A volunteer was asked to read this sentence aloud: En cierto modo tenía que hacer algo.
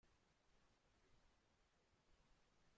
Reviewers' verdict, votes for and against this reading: rejected, 0, 2